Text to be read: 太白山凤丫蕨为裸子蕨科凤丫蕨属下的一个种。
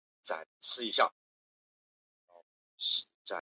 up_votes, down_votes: 0, 2